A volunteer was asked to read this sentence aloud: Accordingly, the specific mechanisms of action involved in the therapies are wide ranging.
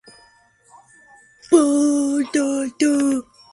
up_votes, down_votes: 0, 2